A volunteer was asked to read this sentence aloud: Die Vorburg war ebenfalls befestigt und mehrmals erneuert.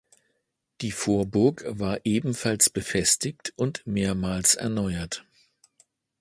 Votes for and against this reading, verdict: 2, 0, accepted